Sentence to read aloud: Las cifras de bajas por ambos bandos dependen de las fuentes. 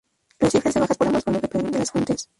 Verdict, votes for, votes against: rejected, 0, 2